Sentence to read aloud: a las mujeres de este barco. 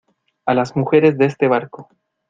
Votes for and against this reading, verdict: 2, 0, accepted